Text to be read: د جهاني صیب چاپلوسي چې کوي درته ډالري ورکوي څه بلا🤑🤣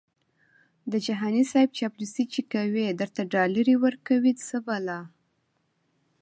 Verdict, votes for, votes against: rejected, 1, 2